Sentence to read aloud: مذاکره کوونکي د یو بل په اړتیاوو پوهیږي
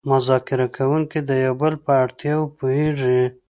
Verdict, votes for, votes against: accepted, 2, 0